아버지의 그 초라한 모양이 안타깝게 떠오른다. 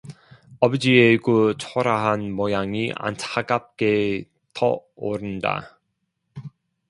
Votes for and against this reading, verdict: 0, 2, rejected